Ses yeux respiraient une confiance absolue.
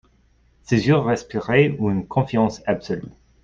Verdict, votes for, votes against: accepted, 2, 0